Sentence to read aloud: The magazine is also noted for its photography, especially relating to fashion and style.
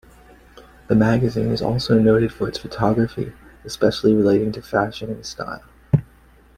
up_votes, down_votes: 2, 0